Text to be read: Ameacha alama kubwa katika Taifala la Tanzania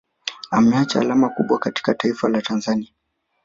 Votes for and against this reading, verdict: 1, 2, rejected